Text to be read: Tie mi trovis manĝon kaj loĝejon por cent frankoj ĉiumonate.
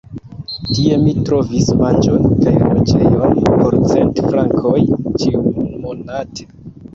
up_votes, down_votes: 1, 2